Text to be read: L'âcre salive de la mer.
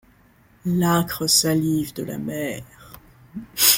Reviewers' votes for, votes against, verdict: 2, 0, accepted